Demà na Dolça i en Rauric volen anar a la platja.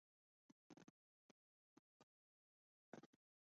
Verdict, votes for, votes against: accepted, 2, 1